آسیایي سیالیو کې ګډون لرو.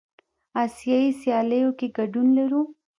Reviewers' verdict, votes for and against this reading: rejected, 0, 2